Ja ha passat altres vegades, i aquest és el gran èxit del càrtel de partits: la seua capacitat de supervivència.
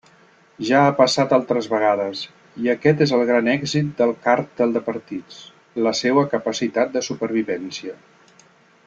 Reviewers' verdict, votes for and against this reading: accepted, 2, 0